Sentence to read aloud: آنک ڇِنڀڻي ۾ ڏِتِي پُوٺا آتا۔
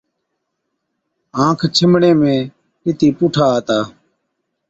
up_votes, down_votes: 2, 0